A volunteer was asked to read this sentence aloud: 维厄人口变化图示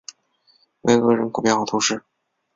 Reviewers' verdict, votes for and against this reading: rejected, 2, 2